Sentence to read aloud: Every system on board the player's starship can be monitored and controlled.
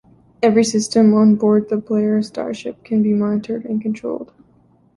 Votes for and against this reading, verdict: 2, 0, accepted